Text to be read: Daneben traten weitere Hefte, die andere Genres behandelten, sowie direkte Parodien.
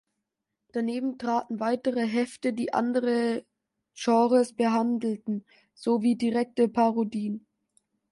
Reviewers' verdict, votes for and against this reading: accepted, 2, 0